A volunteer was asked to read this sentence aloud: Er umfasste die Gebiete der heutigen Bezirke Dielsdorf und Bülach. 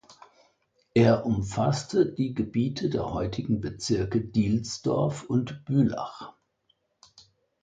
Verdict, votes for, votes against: accepted, 2, 0